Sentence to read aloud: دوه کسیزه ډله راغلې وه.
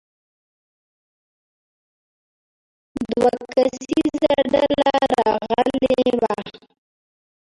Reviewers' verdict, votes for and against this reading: rejected, 0, 2